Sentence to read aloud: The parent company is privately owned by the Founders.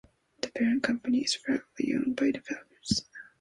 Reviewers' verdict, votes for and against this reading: accepted, 2, 1